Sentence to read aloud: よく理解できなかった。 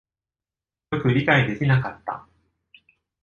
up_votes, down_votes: 1, 2